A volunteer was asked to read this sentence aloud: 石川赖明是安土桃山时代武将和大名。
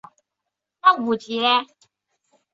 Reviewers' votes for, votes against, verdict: 3, 5, rejected